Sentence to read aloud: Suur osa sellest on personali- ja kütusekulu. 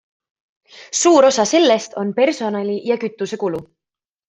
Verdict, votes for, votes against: accepted, 2, 0